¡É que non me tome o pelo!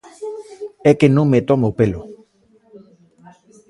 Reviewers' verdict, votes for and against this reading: rejected, 1, 2